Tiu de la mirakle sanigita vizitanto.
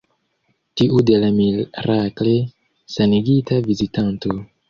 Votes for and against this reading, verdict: 0, 2, rejected